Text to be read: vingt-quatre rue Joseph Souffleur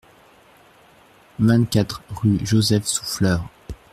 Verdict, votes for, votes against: accepted, 2, 0